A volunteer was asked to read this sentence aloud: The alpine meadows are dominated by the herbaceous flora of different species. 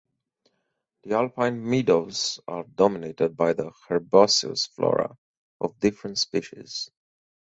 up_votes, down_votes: 4, 0